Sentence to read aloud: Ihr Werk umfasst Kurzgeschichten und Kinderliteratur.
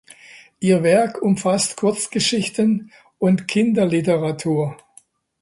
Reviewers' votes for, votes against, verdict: 2, 0, accepted